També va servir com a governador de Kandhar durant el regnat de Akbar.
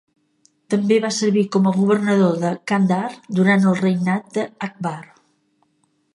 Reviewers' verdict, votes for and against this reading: accepted, 3, 0